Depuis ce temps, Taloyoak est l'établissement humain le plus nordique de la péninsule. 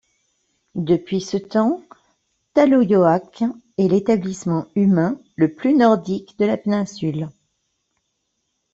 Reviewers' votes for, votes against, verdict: 2, 0, accepted